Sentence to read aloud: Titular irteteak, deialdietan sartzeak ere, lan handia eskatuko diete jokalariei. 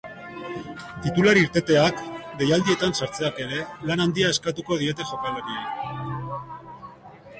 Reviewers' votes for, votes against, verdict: 2, 0, accepted